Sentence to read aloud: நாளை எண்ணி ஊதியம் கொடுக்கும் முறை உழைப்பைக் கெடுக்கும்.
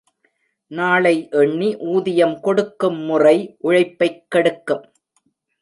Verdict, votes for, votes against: accepted, 2, 1